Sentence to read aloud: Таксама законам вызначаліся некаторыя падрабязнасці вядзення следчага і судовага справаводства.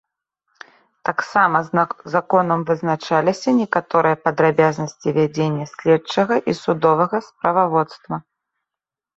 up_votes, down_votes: 0, 2